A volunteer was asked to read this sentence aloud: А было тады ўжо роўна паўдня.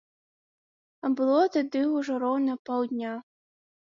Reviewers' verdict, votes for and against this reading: accepted, 2, 0